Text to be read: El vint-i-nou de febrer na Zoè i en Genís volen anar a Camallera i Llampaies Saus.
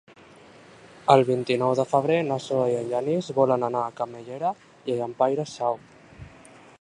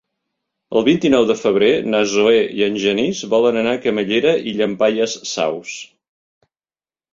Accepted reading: second